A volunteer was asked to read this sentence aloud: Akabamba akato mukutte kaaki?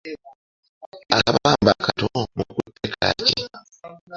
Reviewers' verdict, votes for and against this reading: rejected, 1, 2